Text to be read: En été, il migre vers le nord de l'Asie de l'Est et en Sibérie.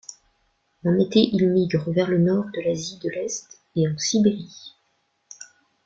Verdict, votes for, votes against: accepted, 2, 0